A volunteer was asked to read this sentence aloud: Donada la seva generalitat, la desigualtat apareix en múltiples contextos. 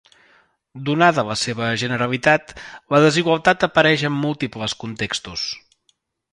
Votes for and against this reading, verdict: 2, 0, accepted